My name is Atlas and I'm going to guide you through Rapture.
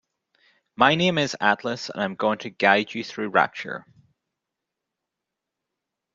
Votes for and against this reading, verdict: 2, 0, accepted